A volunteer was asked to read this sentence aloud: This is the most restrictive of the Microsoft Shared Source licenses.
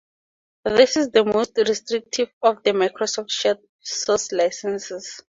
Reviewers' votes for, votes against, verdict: 2, 0, accepted